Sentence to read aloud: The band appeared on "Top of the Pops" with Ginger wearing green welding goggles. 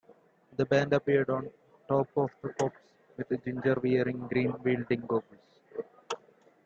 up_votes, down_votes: 2, 1